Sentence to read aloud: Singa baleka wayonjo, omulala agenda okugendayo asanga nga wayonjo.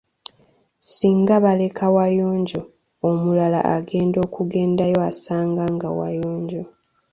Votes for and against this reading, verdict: 2, 0, accepted